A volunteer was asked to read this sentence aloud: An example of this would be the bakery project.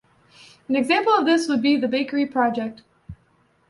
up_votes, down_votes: 2, 0